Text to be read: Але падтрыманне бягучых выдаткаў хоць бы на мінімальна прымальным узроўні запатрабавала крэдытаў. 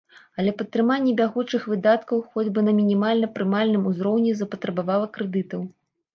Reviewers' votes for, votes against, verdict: 2, 0, accepted